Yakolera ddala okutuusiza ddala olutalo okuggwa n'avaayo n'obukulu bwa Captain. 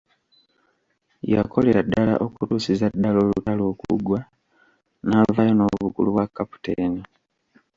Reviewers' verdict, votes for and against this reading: rejected, 1, 2